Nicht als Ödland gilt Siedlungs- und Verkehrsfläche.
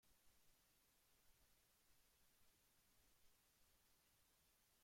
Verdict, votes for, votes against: rejected, 0, 2